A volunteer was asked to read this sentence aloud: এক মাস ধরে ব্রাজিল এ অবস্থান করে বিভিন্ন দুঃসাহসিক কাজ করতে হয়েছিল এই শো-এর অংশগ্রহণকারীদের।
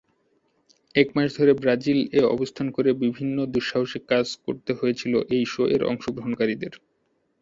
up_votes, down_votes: 3, 1